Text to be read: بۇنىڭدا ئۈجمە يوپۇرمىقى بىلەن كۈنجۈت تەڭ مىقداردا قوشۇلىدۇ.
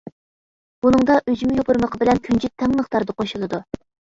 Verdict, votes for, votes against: rejected, 0, 2